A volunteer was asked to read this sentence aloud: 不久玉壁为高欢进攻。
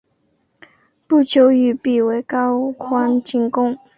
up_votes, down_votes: 2, 0